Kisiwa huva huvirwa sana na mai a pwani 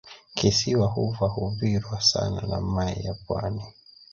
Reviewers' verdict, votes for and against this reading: rejected, 1, 2